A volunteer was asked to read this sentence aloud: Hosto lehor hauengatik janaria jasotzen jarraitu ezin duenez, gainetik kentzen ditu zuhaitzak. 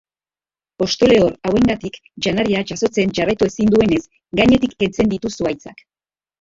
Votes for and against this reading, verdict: 3, 1, accepted